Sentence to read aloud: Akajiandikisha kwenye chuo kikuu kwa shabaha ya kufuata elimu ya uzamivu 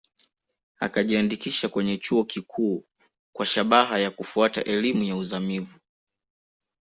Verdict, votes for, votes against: accepted, 2, 0